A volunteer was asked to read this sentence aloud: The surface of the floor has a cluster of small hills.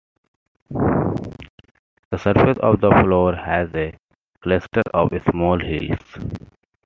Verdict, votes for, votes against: accepted, 2, 0